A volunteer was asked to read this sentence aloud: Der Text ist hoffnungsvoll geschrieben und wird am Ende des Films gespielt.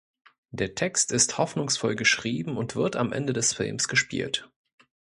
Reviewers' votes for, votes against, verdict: 1, 2, rejected